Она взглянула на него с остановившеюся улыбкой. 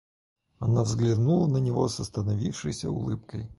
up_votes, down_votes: 2, 4